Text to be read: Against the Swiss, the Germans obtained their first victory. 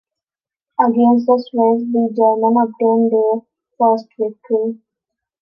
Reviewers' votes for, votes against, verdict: 0, 3, rejected